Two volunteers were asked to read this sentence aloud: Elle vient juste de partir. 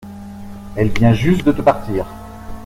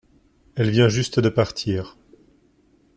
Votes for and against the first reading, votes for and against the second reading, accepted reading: 1, 2, 2, 0, second